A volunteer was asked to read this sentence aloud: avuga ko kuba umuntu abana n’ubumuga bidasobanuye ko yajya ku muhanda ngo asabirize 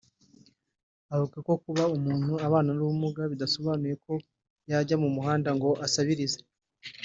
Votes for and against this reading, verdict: 2, 0, accepted